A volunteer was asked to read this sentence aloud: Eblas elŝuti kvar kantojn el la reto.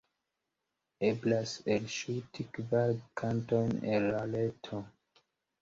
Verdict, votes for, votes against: accepted, 2, 0